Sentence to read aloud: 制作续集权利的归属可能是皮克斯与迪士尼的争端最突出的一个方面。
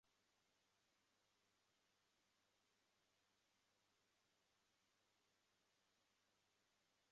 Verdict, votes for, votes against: rejected, 0, 3